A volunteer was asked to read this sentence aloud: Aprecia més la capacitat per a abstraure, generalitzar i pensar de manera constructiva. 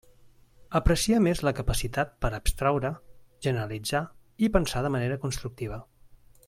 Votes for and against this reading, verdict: 2, 0, accepted